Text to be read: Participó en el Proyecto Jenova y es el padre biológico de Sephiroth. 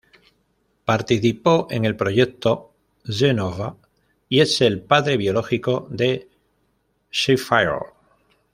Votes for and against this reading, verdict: 0, 2, rejected